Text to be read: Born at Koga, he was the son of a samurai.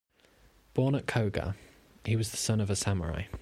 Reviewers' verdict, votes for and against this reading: accepted, 2, 0